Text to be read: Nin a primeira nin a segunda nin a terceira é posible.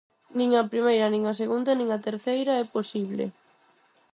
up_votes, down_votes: 4, 0